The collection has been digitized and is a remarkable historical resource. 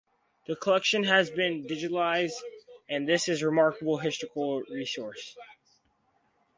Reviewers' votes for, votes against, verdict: 2, 4, rejected